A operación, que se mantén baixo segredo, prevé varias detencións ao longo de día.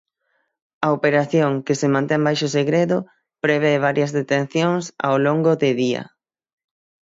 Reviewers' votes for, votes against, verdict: 3, 6, rejected